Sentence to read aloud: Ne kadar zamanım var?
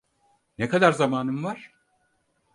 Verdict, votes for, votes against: accepted, 4, 0